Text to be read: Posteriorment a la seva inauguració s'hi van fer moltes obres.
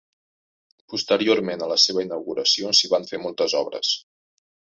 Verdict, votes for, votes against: accepted, 4, 0